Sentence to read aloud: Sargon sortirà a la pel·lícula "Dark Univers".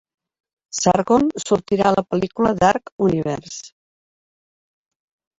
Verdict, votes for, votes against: rejected, 1, 2